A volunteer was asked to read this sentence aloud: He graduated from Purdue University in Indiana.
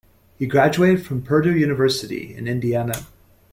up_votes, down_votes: 2, 0